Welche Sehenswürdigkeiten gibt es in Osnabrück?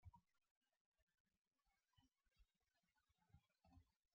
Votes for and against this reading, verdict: 0, 2, rejected